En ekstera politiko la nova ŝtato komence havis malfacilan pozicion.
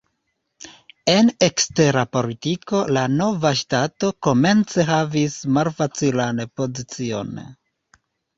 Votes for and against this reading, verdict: 1, 2, rejected